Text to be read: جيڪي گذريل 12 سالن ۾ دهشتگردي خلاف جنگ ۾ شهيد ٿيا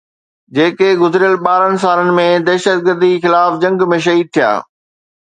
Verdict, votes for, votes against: rejected, 0, 2